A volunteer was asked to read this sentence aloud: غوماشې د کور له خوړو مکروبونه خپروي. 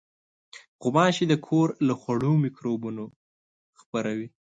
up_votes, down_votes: 2, 0